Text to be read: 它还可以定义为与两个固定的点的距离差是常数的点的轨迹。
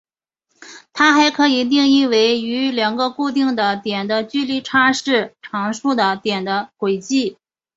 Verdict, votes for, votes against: accepted, 6, 1